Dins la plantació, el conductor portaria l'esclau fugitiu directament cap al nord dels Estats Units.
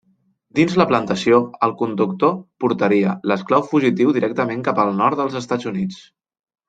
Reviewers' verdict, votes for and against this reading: accepted, 2, 0